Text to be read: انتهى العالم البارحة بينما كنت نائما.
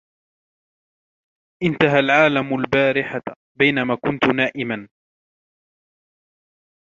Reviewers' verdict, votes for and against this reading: rejected, 1, 2